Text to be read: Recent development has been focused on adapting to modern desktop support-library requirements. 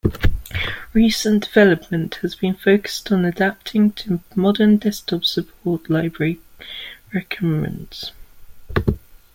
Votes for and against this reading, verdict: 0, 2, rejected